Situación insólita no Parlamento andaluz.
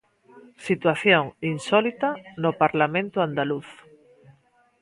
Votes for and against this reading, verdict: 2, 0, accepted